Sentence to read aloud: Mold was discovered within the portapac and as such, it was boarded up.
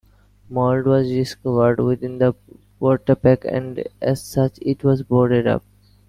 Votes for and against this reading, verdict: 2, 1, accepted